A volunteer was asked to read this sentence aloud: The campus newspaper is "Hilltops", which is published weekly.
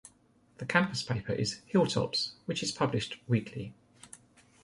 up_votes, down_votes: 0, 2